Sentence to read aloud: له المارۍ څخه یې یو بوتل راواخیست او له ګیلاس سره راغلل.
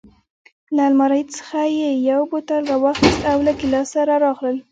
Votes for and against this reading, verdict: 2, 1, accepted